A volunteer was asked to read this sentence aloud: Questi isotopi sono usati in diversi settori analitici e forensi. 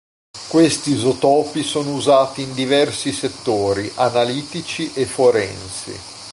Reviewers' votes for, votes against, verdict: 1, 2, rejected